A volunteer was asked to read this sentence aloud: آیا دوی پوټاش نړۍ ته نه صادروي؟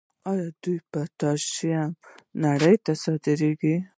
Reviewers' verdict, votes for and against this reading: rejected, 1, 2